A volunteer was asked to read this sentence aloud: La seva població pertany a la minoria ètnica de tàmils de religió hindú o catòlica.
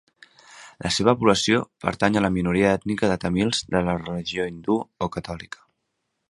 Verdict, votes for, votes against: rejected, 0, 2